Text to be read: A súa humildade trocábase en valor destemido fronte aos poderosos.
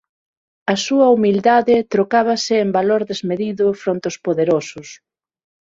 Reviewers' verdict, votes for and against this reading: rejected, 3, 6